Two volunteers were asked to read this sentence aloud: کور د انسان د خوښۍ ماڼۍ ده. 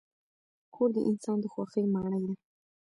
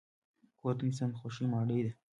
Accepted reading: second